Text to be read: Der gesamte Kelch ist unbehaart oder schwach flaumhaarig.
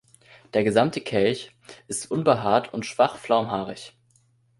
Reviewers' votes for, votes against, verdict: 0, 2, rejected